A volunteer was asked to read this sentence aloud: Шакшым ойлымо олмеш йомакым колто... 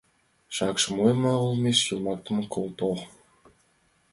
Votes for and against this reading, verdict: 0, 2, rejected